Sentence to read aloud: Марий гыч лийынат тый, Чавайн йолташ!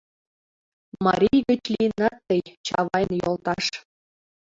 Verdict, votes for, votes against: rejected, 1, 2